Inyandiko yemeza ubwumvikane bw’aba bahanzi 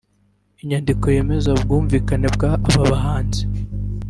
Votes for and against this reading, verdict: 2, 0, accepted